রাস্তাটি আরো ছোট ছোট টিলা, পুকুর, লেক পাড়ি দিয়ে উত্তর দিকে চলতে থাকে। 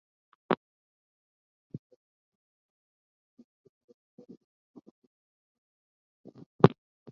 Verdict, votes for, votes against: rejected, 0, 3